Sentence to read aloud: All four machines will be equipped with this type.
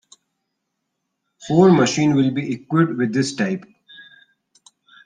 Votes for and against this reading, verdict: 0, 2, rejected